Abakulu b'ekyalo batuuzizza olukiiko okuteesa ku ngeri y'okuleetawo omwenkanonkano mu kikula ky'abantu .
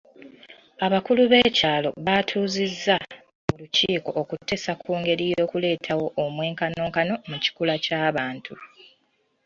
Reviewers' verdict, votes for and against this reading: rejected, 0, 2